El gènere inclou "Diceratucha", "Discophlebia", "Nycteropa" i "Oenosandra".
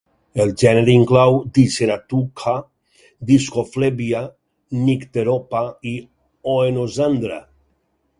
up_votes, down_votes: 0, 4